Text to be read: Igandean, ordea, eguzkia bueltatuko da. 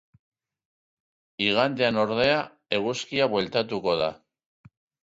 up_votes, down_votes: 3, 0